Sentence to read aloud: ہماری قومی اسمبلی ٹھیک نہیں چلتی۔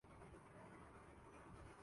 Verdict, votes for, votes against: rejected, 0, 2